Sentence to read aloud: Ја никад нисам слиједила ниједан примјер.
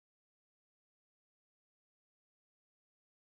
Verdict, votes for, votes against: rejected, 0, 2